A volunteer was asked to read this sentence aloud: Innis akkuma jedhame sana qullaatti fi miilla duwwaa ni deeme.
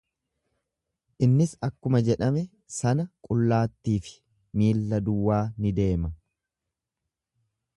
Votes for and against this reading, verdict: 0, 2, rejected